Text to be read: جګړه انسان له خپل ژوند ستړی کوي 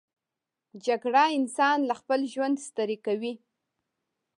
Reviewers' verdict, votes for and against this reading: accepted, 2, 1